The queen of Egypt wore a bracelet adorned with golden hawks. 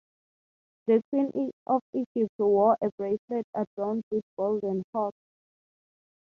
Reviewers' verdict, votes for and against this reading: accepted, 6, 0